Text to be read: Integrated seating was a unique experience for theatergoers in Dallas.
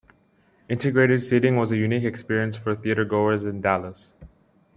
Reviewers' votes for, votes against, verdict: 2, 0, accepted